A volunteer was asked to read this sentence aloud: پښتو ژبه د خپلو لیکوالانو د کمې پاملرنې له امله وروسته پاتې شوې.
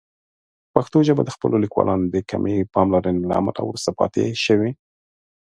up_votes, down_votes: 2, 0